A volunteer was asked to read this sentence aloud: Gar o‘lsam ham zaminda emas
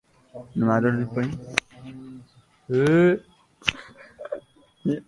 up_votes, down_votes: 0, 2